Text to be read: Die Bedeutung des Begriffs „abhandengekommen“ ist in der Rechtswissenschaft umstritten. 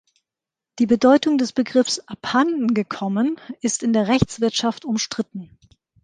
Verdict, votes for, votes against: rejected, 0, 2